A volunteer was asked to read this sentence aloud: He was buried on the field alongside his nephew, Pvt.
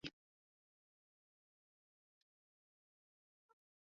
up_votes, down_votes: 0, 2